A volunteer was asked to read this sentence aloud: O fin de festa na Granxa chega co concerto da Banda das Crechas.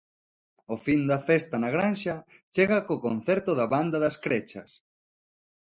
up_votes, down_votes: 1, 2